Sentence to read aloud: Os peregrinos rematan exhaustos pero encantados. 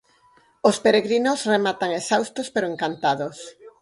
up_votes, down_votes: 4, 0